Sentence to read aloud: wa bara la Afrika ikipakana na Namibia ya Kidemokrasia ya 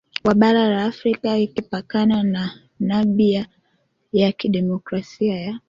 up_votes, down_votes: 1, 3